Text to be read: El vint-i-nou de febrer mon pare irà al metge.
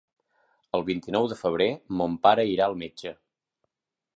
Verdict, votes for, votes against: accepted, 3, 0